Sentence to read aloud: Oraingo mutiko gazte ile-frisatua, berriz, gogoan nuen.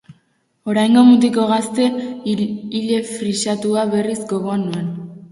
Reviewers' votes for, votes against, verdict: 2, 2, rejected